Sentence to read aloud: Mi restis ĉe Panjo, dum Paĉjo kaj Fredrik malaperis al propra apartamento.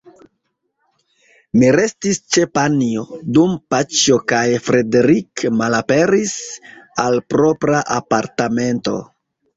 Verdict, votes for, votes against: rejected, 1, 2